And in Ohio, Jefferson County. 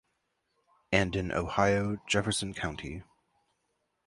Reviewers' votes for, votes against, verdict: 2, 0, accepted